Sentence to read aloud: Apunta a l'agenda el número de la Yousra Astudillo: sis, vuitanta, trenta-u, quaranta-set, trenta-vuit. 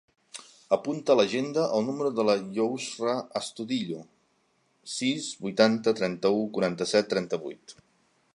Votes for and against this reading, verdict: 2, 0, accepted